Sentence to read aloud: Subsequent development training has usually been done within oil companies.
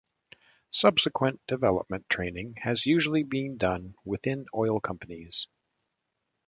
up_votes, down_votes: 2, 0